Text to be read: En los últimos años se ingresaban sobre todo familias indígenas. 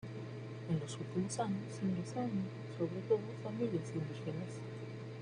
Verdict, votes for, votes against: rejected, 1, 2